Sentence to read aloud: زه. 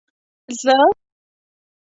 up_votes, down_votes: 2, 0